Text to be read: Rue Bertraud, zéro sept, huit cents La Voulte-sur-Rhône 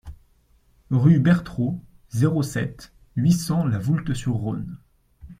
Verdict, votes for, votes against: accepted, 2, 0